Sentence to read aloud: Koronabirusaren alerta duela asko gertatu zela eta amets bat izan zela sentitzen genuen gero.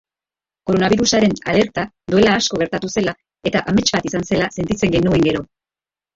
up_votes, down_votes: 2, 1